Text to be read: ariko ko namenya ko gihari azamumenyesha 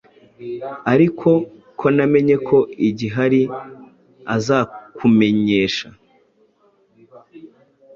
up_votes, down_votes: 1, 2